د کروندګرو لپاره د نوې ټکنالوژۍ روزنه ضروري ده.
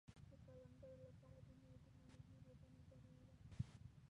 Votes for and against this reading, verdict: 1, 2, rejected